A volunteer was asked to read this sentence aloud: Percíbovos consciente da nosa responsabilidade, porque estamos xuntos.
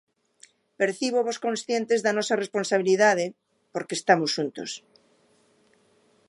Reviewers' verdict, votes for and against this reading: rejected, 0, 2